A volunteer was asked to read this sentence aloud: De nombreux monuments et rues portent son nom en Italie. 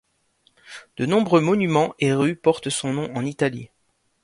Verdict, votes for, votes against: accepted, 2, 0